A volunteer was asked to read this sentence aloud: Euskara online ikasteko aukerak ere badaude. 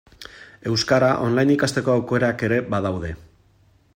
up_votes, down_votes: 2, 0